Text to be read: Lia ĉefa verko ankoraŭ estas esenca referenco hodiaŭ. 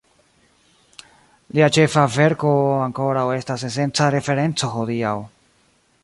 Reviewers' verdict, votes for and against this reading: accepted, 2, 0